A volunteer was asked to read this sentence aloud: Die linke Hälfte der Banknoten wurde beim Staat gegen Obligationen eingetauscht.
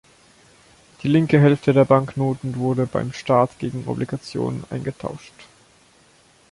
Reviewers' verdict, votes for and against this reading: accepted, 2, 0